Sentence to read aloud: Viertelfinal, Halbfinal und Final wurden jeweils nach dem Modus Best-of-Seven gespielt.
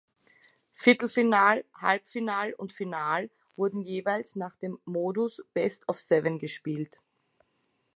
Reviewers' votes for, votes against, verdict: 2, 0, accepted